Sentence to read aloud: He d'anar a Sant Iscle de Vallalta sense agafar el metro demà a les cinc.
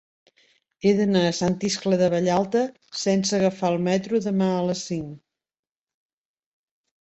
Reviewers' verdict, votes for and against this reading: accepted, 3, 0